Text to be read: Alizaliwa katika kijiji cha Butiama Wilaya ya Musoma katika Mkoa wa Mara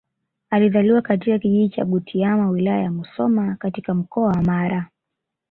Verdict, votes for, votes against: accepted, 3, 0